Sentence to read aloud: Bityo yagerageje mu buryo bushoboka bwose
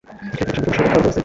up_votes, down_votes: 0, 2